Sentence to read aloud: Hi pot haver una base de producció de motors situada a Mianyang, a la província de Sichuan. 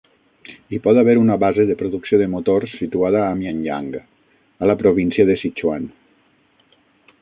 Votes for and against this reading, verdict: 3, 6, rejected